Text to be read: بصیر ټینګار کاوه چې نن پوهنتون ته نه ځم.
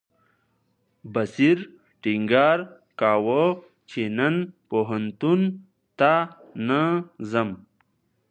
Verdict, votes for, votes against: accepted, 2, 0